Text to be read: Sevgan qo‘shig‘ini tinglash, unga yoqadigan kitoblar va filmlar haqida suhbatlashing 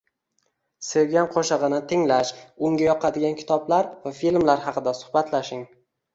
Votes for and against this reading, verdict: 1, 2, rejected